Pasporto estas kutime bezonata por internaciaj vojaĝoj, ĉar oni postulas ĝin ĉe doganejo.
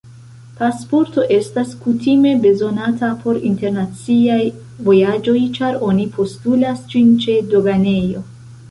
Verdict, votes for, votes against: accepted, 2, 1